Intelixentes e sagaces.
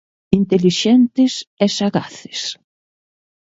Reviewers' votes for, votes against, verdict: 2, 0, accepted